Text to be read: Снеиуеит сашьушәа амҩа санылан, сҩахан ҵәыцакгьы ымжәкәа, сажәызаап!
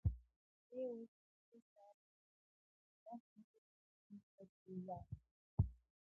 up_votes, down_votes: 0, 2